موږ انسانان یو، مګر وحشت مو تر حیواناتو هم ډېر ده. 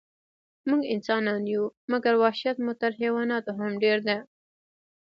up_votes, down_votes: 0, 2